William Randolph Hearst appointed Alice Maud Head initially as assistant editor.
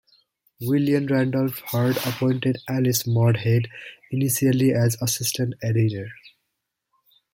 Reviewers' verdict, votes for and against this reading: accepted, 2, 0